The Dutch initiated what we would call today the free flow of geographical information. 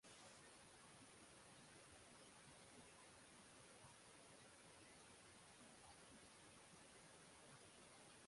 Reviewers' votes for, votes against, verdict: 0, 6, rejected